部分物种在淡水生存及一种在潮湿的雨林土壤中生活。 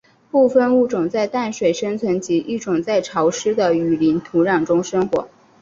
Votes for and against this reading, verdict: 7, 1, accepted